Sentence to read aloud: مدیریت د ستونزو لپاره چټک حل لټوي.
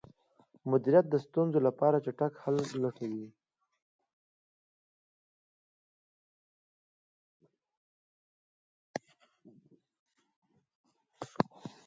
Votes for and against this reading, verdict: 0, 2, rejected